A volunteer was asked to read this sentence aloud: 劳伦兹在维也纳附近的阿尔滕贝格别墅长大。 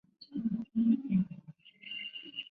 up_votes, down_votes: 0, 4